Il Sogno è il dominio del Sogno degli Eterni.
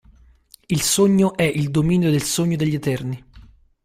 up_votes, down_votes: 2, 0